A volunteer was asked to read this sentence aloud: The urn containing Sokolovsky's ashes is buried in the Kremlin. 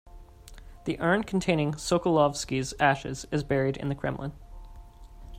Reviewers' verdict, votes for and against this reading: accepted, 2, 0